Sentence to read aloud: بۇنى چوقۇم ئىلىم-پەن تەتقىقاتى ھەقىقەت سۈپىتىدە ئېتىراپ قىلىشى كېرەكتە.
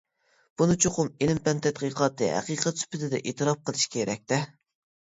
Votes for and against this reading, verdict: 1, 2, rejected